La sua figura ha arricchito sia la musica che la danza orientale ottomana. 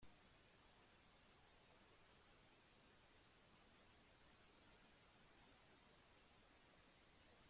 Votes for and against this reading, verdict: 0, 2, rejected